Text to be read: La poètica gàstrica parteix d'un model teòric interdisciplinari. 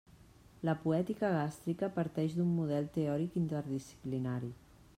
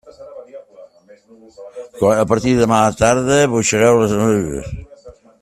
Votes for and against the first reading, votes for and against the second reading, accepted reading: 3, 0, 0, 2, first